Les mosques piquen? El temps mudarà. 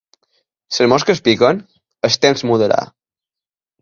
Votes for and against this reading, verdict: 5, 4, accepted